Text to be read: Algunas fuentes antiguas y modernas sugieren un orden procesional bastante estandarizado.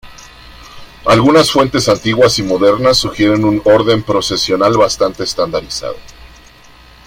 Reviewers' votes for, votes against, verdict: 0, 2, rejected